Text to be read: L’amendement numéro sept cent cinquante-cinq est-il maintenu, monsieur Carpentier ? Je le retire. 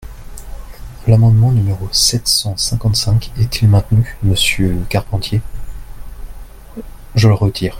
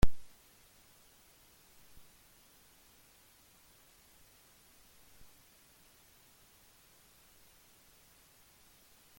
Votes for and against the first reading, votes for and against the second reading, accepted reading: 2, 0, 0, 2, first